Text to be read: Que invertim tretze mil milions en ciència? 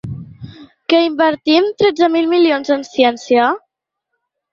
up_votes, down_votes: 3, 0